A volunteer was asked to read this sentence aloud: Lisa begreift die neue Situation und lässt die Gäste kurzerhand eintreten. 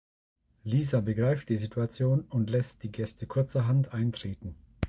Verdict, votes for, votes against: rejected, 0, 2